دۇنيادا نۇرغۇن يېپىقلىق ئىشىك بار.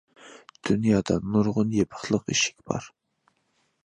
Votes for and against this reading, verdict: 2, 0, accepted